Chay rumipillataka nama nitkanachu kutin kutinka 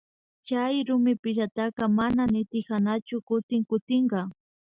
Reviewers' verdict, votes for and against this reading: accepted, 2, 0